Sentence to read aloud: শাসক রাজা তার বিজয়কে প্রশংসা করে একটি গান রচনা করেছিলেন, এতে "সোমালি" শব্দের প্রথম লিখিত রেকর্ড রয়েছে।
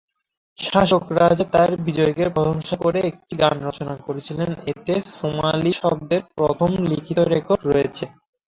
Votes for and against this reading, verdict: 1, 2, rejected